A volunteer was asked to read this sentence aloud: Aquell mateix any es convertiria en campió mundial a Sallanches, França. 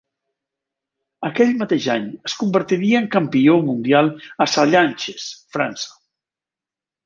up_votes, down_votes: 1, 2